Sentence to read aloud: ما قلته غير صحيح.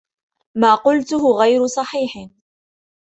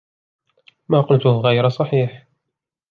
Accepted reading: first